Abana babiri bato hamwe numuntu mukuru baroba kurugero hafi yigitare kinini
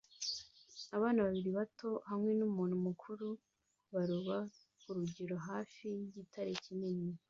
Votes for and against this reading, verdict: 2, 0, accepted